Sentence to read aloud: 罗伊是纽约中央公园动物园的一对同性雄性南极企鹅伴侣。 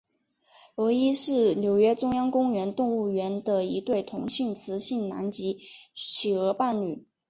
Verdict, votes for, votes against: accepted, 2, 1